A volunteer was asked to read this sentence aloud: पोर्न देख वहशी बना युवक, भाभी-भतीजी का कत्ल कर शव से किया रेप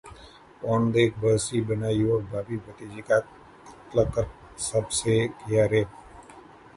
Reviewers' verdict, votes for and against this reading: rejected, 0, 2